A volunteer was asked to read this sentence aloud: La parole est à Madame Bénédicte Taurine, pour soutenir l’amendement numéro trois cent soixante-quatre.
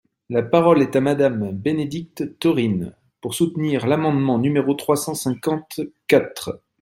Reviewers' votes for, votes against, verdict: 1, 2, rejected